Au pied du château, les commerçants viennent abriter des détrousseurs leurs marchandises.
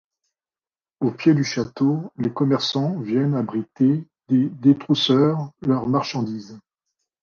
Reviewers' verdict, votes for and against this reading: accepted, 2, 1